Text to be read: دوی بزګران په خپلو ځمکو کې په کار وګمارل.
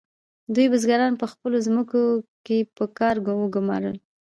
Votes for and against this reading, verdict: 2, 0, accepted